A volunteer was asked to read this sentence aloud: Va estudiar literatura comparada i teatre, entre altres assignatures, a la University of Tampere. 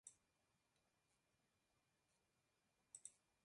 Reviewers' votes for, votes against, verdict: 0, 2, rejected